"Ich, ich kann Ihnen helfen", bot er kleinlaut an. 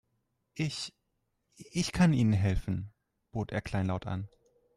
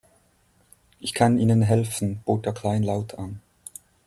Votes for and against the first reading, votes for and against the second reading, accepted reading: 3, 0, 1, 3, first